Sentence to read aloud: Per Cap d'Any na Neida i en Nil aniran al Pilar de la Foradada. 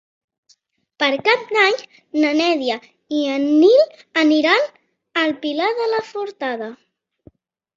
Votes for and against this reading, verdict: 1, 2, rejected